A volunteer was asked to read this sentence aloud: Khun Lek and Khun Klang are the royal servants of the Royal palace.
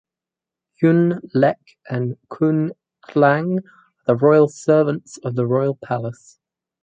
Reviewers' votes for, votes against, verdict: 2, 0, accepted